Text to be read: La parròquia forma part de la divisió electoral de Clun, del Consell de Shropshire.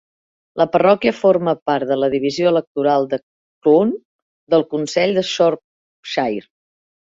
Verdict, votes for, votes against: accepted, 2, 0